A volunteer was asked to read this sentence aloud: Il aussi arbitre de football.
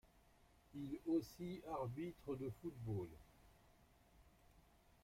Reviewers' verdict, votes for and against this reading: accepted, 2, 1